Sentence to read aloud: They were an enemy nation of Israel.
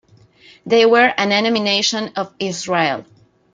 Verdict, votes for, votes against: accepted, 2, 0